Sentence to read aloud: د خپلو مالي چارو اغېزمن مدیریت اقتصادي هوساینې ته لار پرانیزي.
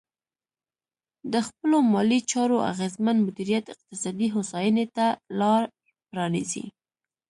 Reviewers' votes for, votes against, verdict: 2, 1, accepted